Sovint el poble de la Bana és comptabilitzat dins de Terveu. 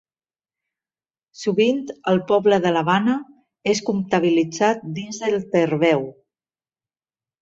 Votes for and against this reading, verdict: 0, 2, rejected